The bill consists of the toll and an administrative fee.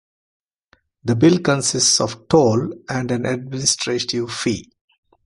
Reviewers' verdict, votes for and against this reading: rejected, 1, 3